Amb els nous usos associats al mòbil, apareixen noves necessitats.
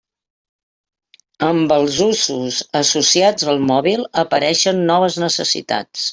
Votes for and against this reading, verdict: 0, 2, rejected